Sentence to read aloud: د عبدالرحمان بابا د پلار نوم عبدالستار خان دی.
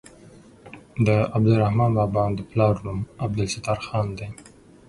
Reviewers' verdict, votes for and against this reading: accepted, 6, 0